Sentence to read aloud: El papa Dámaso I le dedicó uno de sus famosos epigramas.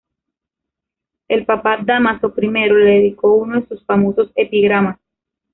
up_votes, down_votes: 2, 0